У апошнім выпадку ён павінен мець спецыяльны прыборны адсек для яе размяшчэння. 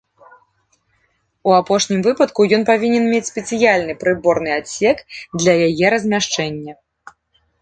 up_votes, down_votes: 2, 0